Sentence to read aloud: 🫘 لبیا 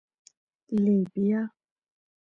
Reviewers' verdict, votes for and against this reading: accepted, 2, 0